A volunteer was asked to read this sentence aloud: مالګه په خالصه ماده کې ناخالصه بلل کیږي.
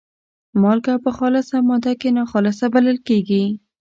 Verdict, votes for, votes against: accepted, 2, 0